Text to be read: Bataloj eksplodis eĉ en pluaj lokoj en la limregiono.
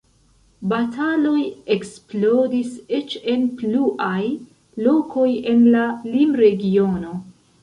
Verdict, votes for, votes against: rejected, 1, 2